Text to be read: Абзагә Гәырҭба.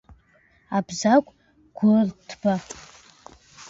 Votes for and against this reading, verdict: 2, 0, accepted